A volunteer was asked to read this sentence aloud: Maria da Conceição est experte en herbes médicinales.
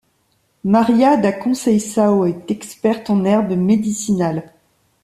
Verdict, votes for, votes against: accepted, 2, 0